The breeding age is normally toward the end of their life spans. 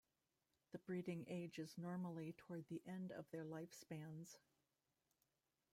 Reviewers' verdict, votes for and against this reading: rejected, 1, 2